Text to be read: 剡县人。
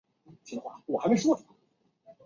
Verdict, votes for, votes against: rejected, 0, 6